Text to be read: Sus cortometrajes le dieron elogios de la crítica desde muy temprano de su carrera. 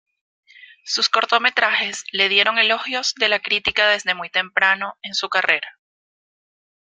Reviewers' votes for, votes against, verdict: 1, 2, rejected